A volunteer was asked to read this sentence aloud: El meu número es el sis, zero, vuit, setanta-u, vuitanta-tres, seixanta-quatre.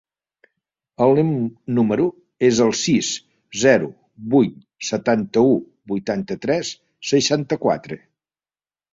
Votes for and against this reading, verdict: 0, 2, rejected